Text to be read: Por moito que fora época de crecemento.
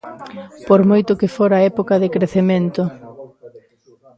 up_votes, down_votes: 1, 2